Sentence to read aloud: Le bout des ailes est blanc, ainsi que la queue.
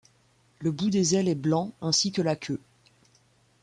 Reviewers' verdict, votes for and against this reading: accepted, 2, 1